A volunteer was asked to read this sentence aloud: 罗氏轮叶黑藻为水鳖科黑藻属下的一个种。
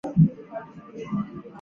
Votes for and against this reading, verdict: 0, 2, rejected